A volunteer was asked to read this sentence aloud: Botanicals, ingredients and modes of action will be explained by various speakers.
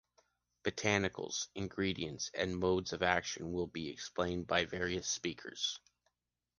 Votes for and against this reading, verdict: 2, 0, accepted